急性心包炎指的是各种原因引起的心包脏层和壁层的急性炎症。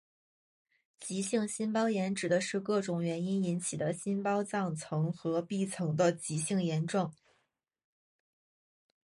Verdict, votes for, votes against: accepted, 8, 0